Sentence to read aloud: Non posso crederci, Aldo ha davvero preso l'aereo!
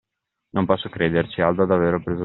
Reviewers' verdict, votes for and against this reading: rejected, 1, 2